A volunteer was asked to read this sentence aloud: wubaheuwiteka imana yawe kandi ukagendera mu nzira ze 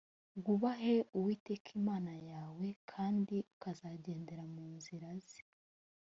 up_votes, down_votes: 2, 0